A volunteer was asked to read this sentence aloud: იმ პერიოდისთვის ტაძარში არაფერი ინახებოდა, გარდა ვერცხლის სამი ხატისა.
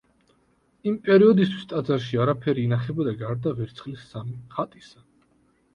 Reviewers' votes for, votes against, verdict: 2, 0, accepted